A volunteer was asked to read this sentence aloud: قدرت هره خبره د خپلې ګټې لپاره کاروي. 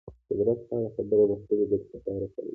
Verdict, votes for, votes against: rejected, 1, 2